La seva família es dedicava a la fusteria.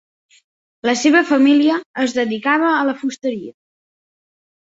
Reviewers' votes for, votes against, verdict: 2, 0, accepted